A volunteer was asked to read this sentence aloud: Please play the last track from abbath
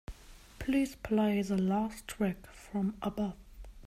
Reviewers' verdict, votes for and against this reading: accepted, 2, 0